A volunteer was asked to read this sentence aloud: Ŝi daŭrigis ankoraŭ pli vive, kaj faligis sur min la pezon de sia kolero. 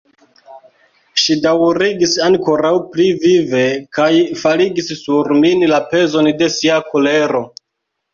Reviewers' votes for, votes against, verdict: 2, 1, accepted